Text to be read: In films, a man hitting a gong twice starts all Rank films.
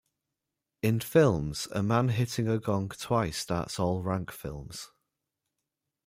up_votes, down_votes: 2, 0